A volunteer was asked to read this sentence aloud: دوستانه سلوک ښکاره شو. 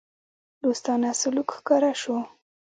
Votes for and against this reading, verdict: 1, 2, rejected